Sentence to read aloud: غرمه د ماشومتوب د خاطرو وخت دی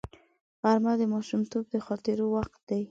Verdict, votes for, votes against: accepted, 2, 1